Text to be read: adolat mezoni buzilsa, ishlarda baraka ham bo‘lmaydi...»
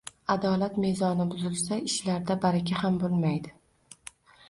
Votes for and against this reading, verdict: 2, 0, accepted